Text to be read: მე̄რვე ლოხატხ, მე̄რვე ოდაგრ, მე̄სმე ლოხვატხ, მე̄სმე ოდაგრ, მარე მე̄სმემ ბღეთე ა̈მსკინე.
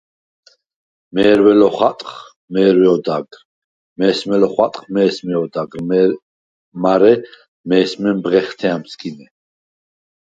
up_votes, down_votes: 2, 4